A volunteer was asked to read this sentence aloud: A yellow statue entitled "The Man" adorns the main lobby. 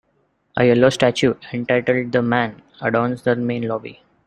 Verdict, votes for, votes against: accepted, 2, 1